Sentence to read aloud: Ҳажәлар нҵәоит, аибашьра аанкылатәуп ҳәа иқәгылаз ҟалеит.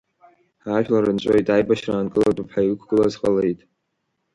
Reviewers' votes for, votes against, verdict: 0, 2, rejected